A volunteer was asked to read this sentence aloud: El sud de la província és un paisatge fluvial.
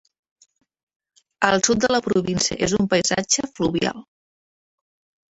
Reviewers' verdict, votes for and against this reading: rejected, 1, 2